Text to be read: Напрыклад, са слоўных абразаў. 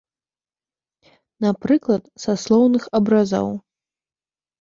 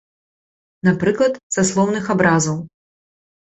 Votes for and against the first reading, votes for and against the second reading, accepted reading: 2, 3, 2, 0, second